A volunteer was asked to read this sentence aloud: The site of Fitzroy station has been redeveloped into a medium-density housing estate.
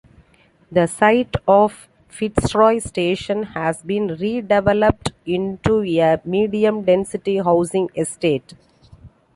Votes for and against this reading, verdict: 2, 1, accepted